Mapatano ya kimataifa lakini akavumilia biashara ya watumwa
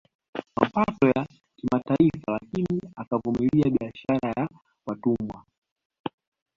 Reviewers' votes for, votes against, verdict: 2, 1, accepted